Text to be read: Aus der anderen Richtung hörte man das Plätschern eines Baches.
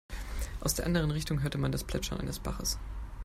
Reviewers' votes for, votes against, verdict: 2, 0, accepted